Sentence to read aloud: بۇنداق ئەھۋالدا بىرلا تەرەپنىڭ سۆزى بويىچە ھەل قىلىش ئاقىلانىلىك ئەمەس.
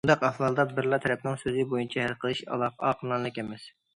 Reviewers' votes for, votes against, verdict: 0, 2, rejected